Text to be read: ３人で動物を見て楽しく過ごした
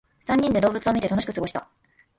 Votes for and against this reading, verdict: 0, 2, rejected